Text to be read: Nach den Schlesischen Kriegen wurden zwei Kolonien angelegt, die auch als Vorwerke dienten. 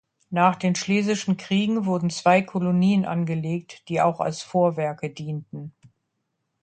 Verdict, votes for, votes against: accepted, 2, 0